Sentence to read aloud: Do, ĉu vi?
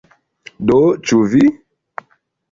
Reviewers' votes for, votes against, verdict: 2, 0, accepted